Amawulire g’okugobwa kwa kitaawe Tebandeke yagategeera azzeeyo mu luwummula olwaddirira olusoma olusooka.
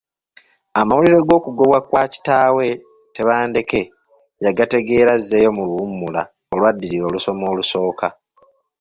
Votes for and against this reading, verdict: 2, 0, accepted